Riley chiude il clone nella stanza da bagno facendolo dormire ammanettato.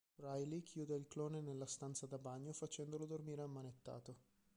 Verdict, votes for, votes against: rejected, 1, 2